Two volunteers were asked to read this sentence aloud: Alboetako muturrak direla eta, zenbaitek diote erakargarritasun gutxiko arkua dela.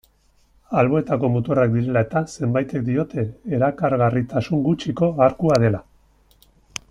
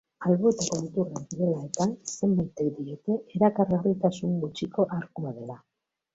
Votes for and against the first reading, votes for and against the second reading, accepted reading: 2, 0, 0, 2, first